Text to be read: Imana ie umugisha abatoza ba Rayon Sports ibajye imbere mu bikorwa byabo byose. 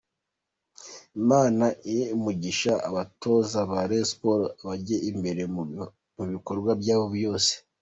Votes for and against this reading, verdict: 1, 2, rejected